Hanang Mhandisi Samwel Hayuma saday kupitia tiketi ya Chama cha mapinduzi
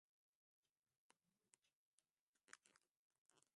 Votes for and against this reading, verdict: 0, 2, rejected